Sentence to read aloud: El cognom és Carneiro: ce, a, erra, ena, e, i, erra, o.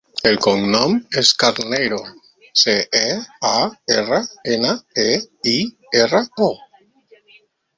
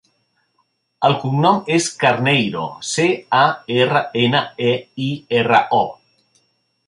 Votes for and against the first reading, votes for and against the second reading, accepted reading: 1, 4, 3, 0, second